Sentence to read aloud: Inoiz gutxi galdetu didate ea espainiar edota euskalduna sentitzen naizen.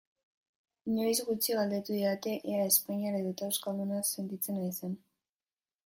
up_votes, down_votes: 2, 1